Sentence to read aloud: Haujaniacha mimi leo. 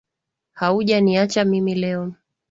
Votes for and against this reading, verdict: 3, 0, accepted